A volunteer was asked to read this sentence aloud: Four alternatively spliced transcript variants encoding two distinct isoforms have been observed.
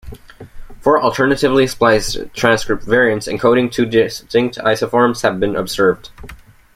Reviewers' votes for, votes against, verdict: 1, 2, rejected